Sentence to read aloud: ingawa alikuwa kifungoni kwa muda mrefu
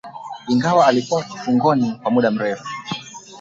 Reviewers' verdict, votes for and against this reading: rejected, 2, 3